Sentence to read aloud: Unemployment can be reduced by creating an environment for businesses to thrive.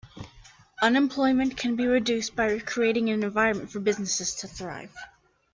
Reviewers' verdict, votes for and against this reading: rejected, 2, 3